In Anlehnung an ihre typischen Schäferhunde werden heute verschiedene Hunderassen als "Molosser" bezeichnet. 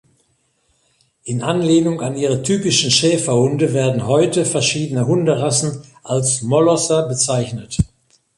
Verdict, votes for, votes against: accepted, 2, 0